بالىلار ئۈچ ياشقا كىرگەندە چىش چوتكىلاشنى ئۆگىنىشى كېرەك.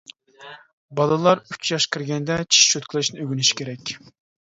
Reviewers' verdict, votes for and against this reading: rejected, 1, 2